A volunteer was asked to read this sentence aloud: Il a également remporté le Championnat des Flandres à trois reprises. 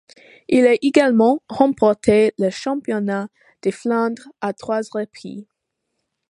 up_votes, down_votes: 0, 2